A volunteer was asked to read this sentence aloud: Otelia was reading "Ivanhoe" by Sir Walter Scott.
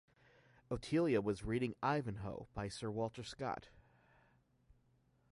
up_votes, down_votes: 2, 0